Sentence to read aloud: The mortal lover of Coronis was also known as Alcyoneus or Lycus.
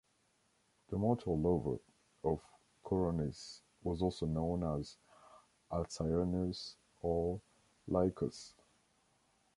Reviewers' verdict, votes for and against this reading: accepted, 2, 0